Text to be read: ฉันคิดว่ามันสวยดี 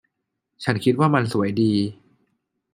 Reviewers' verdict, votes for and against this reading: accepted, 2, 0